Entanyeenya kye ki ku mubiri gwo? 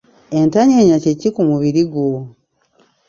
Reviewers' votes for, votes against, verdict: 0, 2, rejected